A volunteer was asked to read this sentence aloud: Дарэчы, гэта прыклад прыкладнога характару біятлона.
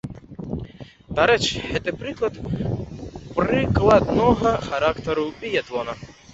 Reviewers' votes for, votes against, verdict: 0, 2, rejected